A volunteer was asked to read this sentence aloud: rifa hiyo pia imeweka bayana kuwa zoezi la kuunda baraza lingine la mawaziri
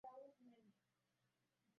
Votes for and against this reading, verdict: 0, 2, rejected